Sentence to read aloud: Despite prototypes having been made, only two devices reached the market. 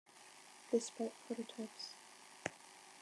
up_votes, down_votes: 0, 2